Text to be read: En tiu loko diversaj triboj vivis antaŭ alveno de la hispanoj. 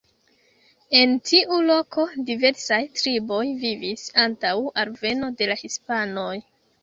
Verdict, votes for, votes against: accepted, 2, 0